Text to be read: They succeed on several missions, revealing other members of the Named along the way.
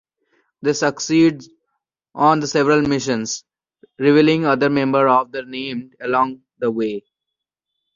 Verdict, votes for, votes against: accepted, 2, 1